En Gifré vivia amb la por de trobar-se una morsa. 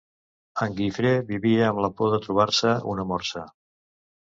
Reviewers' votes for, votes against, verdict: 3, 0, accepted